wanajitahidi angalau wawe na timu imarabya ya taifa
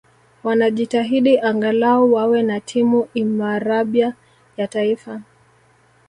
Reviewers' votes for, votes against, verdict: 2, 0, accepted